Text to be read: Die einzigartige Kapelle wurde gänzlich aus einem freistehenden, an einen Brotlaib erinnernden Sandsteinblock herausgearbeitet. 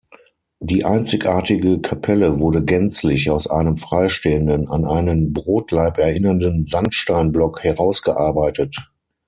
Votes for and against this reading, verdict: 6, 0, accepted